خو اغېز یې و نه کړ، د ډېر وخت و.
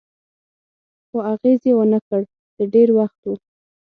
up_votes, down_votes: 6, 0